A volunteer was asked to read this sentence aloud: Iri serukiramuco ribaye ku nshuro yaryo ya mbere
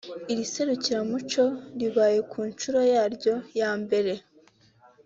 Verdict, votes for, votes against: accepted, 3, 0